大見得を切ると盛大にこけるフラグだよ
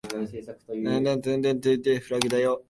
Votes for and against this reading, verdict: 0, 2, rejected